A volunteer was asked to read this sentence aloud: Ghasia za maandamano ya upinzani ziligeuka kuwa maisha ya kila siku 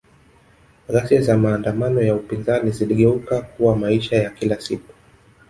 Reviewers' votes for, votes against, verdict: 0, 2, rejected